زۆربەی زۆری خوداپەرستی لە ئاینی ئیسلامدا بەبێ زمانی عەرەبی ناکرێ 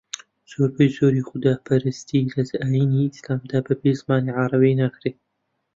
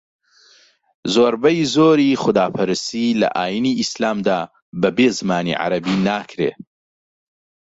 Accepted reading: second